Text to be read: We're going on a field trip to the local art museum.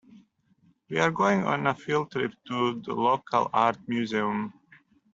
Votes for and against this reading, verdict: 2, 0, accepted